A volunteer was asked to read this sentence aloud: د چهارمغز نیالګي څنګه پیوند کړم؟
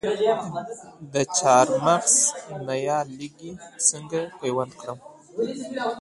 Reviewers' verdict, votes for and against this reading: accepted, 2, 0